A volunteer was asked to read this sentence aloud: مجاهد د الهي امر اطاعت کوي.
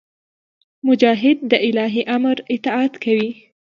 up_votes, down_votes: 2, 0